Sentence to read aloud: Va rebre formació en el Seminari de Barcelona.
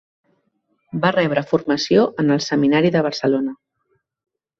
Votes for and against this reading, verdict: 2, 0, accepted